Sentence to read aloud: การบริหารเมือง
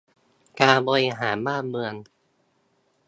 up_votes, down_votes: 0, 2